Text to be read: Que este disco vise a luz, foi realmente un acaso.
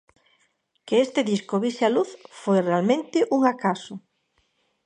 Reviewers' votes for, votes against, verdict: 2, 0, accepted